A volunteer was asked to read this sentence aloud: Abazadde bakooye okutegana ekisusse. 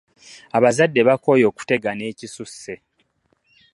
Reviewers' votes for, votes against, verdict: 2, 0, accepted